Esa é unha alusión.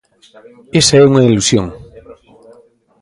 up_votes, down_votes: 0, 2